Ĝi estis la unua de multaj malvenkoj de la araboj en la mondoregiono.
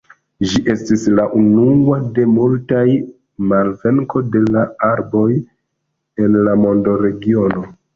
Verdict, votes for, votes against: rejected, 1, 2